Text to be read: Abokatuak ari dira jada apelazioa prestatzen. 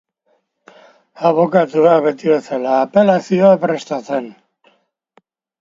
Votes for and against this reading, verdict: 0, 2, rejected